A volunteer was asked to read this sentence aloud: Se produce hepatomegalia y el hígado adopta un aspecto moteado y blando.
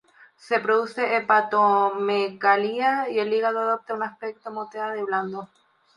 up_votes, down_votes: 0, 2